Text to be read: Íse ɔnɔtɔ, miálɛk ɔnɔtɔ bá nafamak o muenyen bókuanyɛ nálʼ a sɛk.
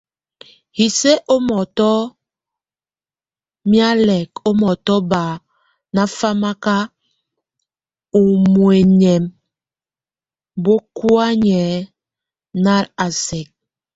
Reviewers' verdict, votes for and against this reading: rejected, 0, 2